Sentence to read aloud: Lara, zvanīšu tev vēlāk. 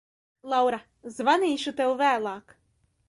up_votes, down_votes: 0, 2